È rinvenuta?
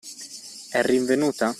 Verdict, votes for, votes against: accepted, 2, 0